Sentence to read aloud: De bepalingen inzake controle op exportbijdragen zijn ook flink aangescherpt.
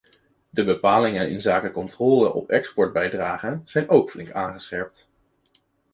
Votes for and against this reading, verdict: 2, 0, accepted